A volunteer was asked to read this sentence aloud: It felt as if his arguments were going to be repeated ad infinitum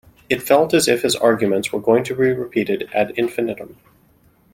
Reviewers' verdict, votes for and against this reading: accepted, 2, 0